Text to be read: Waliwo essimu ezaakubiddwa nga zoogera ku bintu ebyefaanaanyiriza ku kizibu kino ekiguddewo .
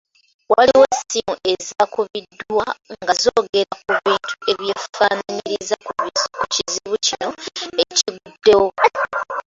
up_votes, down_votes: 0, 2